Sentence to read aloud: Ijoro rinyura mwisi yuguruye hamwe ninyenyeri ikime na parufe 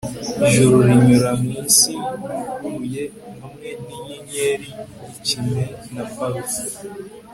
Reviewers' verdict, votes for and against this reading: accepted, 2, 0